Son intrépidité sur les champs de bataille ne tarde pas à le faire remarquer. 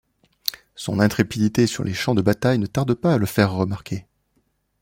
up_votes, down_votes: 2, 0